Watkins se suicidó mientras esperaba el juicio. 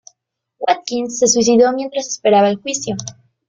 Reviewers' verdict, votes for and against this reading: accepted, 2, 0